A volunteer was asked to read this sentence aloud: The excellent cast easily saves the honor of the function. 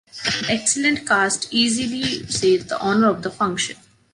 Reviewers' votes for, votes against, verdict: 0, 2, rejected